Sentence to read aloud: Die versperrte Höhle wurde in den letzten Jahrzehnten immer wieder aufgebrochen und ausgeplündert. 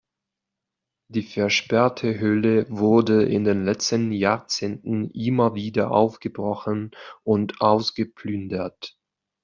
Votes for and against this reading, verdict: 2, 1, accepted